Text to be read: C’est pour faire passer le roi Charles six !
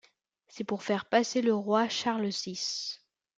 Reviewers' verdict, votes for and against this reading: accepted, 2, 0